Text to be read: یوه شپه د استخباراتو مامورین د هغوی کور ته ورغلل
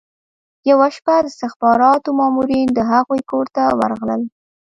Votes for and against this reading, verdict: 1, 2, rejected